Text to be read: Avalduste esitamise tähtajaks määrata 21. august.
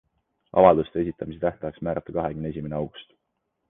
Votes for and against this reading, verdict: 0, 2, rejected